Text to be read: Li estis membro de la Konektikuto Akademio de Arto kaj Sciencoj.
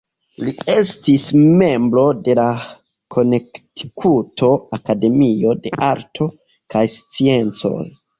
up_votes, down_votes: 1, 2